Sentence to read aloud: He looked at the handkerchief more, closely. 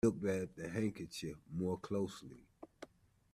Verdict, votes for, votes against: rejected, 1, 2